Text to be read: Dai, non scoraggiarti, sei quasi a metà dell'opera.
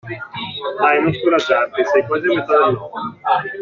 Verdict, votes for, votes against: rejected, 0, 2